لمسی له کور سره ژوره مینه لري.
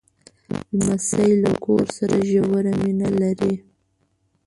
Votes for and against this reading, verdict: 1, 2, rejected